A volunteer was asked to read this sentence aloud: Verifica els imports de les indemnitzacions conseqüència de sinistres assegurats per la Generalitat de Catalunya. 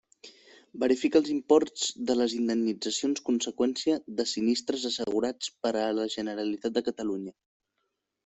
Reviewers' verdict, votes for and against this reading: rejected, 1, 2